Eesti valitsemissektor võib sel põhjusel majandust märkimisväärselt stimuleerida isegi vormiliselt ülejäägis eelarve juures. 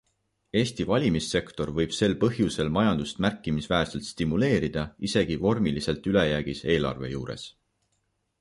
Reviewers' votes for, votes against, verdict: 0, 2, rejected